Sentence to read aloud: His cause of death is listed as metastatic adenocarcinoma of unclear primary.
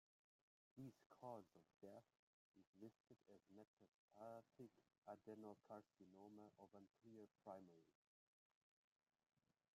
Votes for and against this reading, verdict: 0, 2, rejected